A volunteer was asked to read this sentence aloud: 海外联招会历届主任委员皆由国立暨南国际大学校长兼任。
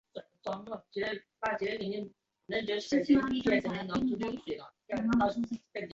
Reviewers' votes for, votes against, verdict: 0, 2, rejected